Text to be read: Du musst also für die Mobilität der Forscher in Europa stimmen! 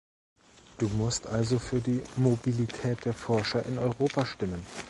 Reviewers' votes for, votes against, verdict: 2, 0, accepted